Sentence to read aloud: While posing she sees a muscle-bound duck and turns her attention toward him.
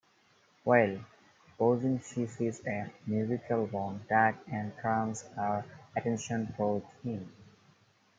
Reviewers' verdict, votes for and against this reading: rejected, 0, 2